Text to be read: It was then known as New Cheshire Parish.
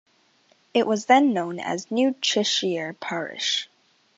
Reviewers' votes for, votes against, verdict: 2, 0, accepted